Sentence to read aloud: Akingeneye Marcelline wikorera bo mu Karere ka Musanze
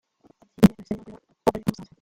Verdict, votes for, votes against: rejected, 0, 2